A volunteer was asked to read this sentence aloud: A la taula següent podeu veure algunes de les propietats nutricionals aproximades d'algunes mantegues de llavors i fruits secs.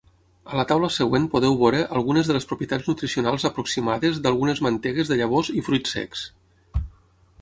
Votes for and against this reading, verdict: 6, 0, accepted